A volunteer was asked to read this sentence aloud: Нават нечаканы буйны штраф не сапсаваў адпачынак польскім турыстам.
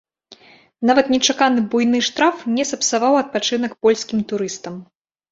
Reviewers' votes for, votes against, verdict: 2, 0, accepted